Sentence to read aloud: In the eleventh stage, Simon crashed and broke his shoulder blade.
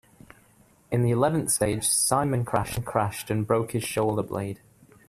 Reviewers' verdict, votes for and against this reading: rejected, 1, 2